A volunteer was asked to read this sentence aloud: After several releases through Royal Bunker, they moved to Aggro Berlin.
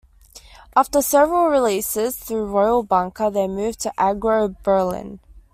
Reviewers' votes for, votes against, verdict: 2, 0, accepted